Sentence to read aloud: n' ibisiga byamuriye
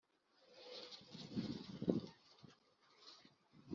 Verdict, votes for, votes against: rejected, 0, 2